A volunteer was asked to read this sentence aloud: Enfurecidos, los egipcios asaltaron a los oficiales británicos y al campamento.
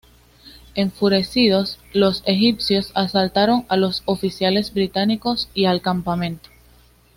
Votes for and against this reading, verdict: 2, 0, accepted